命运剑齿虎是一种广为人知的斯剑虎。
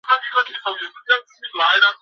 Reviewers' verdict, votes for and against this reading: rejected, 1, 2